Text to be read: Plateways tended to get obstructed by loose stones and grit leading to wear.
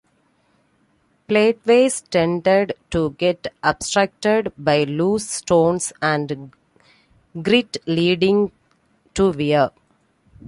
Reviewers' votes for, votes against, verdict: 2, 1, accepted